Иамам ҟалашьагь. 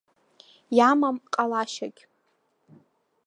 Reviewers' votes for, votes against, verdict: 2, 0, accepted